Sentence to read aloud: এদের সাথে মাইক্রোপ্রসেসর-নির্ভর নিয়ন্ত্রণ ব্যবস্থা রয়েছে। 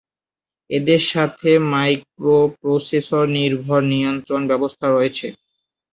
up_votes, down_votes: 2, 0